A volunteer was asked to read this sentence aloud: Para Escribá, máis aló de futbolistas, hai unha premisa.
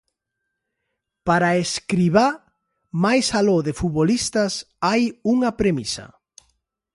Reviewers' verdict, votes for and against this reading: accepted, 2, 0